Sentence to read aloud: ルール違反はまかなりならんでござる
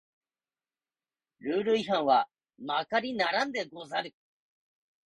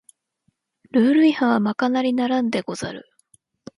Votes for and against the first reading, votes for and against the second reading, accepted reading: 0, 2, 2, 0, second